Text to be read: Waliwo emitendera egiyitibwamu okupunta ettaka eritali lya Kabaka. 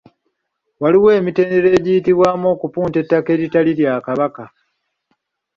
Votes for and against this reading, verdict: 2, 0, accepted